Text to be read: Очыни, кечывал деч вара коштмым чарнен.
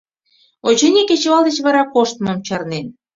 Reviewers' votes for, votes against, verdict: 2, 0, accepted